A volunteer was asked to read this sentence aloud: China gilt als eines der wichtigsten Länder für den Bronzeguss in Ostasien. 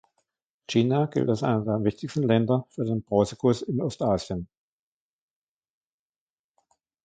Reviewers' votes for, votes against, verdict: 1, 2, rejected